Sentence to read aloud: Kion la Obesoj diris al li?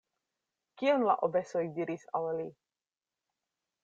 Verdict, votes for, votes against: accepted, 2, 0